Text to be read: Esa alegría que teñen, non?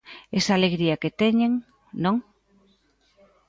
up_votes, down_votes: 2, 0